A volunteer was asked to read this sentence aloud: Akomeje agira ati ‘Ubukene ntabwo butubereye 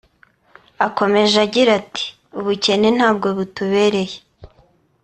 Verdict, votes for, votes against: accepted, 2, 0